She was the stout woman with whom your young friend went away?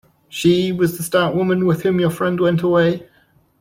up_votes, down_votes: 1, 2